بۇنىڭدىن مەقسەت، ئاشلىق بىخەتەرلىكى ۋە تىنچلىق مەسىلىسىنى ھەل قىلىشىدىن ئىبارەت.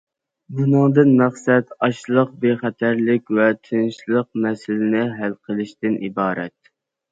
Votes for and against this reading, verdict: 0, 2, rejected